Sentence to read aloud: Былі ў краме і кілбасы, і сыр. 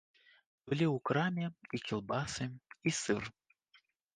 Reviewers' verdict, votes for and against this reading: accepted, 3, 0